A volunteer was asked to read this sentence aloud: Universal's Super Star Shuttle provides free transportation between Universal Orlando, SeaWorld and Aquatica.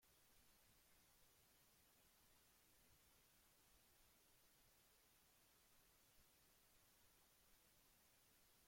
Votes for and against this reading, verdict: 0, 2, rejected